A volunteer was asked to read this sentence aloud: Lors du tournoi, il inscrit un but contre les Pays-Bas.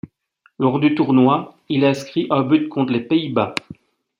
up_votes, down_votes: 2, 0